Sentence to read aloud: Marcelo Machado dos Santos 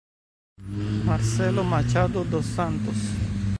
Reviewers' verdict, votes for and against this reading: rejected, 0, 2